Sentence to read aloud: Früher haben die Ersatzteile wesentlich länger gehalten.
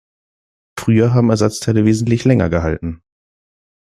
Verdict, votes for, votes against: rejected, 1, 2